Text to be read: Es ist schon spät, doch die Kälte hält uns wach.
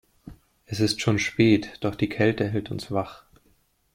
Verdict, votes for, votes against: accepted, 2, 0